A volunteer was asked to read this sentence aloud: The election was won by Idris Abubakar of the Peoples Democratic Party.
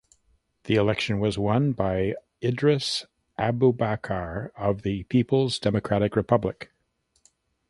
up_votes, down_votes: 0, 2